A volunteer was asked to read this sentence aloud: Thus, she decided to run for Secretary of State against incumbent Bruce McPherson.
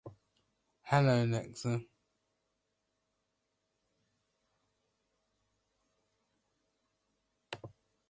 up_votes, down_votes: 1, 2